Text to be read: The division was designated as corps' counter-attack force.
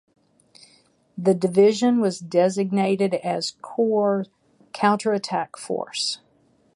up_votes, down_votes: 3, 3